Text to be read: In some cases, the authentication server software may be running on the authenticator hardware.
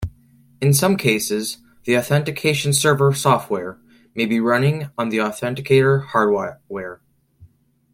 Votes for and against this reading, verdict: 0, 2, rejected